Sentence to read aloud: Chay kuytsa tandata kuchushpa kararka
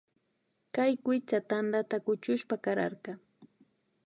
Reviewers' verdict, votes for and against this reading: rejected, 0, 2